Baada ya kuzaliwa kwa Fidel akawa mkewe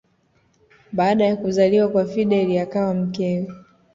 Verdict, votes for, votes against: accepted, 2, 0